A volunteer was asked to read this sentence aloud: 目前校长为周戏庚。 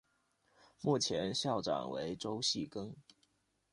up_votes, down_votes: 2, 0